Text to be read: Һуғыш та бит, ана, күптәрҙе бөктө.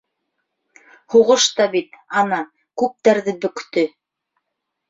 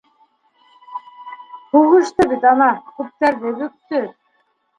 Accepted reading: first